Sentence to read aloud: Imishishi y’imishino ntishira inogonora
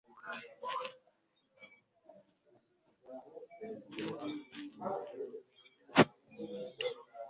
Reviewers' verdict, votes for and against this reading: rejected, 1, 2